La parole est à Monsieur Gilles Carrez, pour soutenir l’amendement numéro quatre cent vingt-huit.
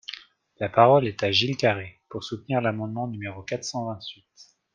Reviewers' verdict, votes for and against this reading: rejected, 0, 2